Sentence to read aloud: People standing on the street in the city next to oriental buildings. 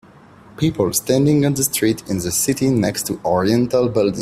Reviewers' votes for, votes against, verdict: 0, 2, rejected